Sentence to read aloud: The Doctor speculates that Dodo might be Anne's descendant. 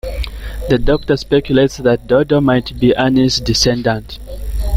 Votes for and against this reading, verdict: 1, 2, rejected